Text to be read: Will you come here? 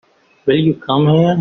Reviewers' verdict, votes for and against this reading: rejected, 1, 2